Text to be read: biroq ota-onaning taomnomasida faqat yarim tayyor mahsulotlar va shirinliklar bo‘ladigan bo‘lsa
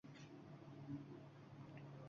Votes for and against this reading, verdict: 0, 2, rejected